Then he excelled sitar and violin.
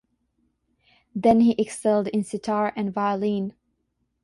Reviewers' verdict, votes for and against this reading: rejected, 0, 6